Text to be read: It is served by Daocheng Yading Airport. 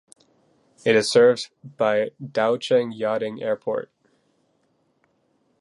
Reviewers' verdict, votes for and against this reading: rejected, 2, 3